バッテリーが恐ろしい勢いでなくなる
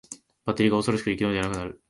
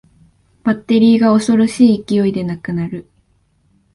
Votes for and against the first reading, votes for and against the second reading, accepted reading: 1, 2, 2, 0, second